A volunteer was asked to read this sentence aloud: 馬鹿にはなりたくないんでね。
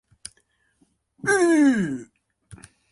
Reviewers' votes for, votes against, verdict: 0, 2, rejected